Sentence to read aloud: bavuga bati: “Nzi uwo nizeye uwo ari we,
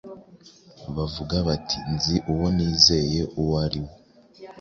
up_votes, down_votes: 2, 0